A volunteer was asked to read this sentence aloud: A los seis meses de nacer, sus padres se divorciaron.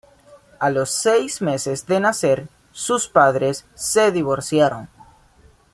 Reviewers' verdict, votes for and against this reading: accepted, 2, 0